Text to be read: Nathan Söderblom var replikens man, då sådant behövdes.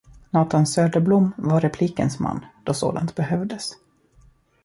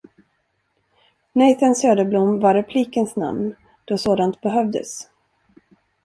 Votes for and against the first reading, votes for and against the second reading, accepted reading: 2, 0, 1, 2, first